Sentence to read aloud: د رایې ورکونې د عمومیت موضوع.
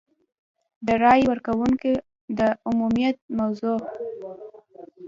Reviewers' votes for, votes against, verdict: 3, 0, accepted